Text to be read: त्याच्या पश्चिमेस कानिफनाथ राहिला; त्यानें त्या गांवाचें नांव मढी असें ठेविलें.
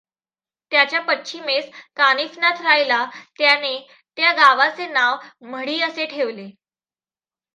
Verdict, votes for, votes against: accepted, 2, 1